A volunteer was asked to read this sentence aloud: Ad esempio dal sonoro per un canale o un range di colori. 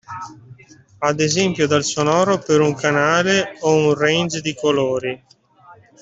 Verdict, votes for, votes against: accepted, 2, 1